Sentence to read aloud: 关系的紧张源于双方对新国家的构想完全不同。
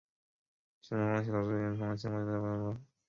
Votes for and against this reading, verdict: 0, 2, rejected